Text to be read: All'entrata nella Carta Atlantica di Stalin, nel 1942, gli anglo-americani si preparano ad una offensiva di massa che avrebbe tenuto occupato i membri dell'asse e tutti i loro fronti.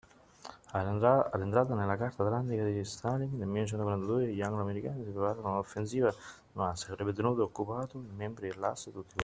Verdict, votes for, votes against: rejected, 0, 2